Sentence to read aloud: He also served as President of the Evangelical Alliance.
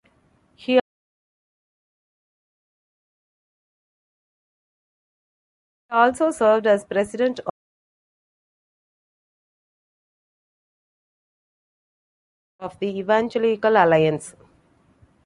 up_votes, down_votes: 0, 2